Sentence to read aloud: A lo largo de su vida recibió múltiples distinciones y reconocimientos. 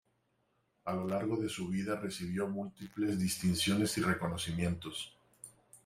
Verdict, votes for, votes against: accepted, 2, 1